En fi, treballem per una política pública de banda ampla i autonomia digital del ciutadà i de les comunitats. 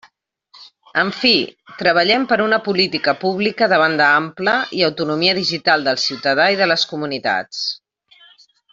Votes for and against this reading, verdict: 3, 0, accepted